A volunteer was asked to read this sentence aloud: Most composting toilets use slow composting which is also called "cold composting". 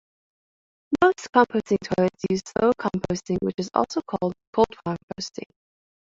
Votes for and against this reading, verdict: 2, 1, accepted